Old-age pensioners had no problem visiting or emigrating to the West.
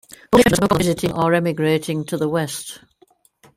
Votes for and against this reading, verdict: 0, 2, rejected